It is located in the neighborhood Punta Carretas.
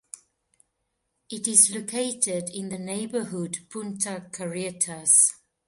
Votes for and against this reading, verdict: 2, 0, accepted